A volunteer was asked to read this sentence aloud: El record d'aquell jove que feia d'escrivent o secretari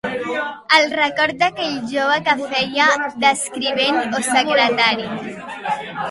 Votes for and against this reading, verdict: 0, 2, rejected